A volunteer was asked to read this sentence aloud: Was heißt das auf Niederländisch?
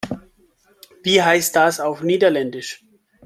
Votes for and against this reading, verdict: 1, 2, rejected